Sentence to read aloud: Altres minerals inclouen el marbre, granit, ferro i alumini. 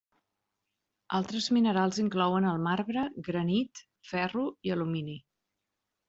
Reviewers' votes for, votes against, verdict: 5, 0, accepted